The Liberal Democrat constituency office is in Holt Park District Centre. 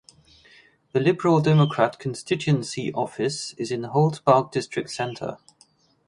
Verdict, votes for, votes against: rejected, 2, 2